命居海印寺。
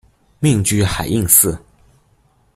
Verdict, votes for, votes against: accepted, 2, 0